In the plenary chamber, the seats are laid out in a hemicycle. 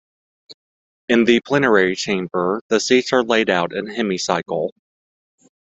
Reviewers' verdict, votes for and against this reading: rejected, 1, 2